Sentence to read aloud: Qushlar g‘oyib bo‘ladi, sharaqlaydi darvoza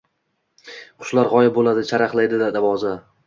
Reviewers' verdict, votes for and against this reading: rejected, 1, 2